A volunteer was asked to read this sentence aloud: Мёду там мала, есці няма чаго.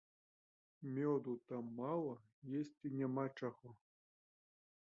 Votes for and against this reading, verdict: 2, 1, accepted